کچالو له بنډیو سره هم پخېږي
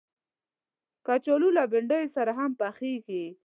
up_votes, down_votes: 2, 0